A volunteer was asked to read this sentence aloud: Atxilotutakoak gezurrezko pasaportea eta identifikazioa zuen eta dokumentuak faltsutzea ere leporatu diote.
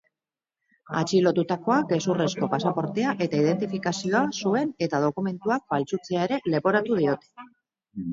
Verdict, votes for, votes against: accepted, 6, 0